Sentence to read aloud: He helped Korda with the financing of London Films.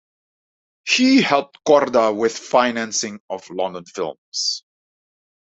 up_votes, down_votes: 0, 2